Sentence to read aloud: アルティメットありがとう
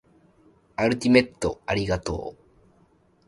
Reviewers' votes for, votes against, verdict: 2, 0, accepted